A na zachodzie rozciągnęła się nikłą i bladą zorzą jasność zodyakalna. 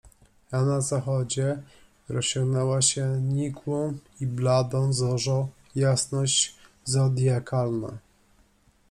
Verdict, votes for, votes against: accepted, 2, 0